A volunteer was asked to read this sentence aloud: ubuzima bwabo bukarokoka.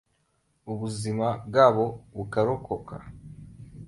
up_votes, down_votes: 2, 0